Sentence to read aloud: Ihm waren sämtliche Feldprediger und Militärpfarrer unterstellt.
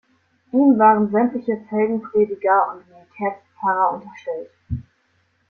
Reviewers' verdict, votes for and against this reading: rejected, 1, 2